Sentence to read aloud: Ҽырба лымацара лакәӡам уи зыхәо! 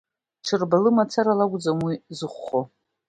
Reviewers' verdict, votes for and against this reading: accepted, 2, 0